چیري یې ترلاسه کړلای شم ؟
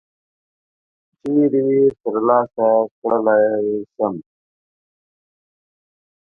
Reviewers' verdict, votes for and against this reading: accepted, 4, 1